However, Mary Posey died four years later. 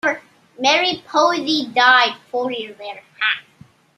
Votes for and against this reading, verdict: 2, 1, accepted